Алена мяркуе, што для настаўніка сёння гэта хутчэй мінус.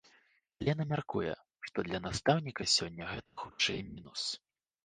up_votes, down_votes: 1, 2